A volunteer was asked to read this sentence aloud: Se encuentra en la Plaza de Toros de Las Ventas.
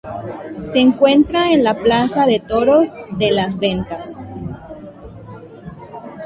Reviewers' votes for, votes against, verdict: 2, 1, accepted